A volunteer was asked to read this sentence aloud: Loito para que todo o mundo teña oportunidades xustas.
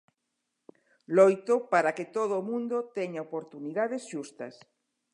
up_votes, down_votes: 2, 0